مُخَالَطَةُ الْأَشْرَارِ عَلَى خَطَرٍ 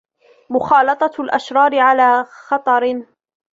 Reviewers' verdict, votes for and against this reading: accepted, 2, 0